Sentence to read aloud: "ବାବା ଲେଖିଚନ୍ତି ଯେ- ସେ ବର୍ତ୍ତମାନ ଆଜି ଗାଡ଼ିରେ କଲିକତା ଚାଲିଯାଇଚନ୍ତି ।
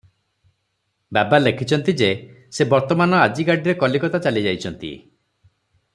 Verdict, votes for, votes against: accepted, 3, 0